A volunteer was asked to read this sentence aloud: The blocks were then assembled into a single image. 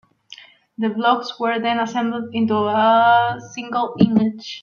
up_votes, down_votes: 1, 2